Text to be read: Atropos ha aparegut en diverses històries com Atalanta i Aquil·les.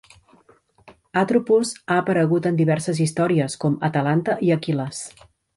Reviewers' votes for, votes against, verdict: 2, 0, accepted